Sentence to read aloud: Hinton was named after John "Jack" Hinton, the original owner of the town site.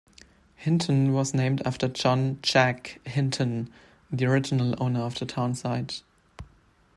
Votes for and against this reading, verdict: 2, 0, accepted